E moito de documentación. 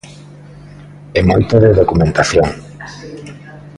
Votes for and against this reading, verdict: 1, 2, rejected